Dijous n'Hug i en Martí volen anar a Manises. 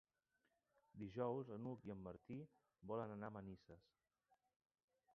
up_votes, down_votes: 1, 2